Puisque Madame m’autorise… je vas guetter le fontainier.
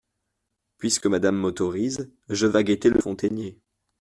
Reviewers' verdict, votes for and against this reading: accepted, 2, 0